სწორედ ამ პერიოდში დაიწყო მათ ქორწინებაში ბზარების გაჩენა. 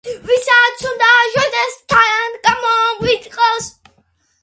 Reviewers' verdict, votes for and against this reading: rejected, 0, 2